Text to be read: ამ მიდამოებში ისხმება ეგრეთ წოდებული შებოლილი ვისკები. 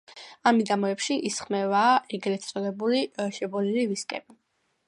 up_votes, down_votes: 2, 1